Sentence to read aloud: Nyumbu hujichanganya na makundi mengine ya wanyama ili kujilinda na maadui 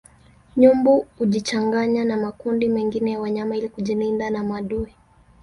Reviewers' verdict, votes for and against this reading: rejected, 1, 2